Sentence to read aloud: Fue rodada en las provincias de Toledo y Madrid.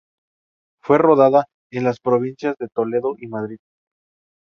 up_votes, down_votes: 2, 0